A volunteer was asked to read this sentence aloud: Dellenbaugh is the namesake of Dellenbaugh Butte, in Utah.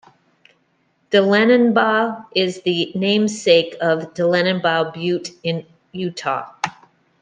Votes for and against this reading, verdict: 1, 2, rejected